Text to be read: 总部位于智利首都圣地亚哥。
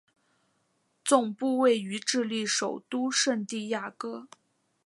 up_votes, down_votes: 3, 0